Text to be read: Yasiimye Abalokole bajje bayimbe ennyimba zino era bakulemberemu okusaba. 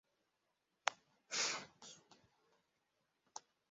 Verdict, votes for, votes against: rejected, 0, 2